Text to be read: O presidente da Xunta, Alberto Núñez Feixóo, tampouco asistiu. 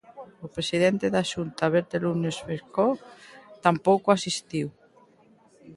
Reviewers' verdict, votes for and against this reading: rejected, 0, 2